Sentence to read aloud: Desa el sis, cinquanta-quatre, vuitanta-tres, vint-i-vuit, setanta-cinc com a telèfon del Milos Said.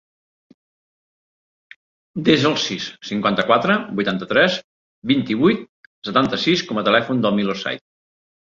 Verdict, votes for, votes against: rejected, 2, 3